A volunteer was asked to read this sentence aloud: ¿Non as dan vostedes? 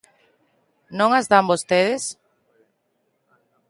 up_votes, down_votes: 2, 0